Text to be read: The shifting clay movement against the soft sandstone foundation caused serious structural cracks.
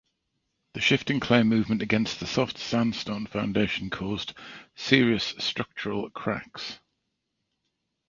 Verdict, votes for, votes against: accepted, 2, 0